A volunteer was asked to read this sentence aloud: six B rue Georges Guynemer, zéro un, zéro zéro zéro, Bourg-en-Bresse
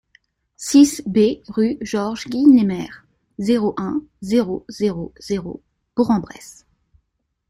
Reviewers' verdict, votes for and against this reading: accepted, 2, 0